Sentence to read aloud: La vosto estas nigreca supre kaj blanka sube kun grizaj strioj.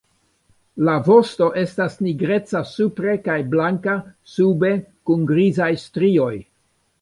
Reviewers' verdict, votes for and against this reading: accepted, 2, 0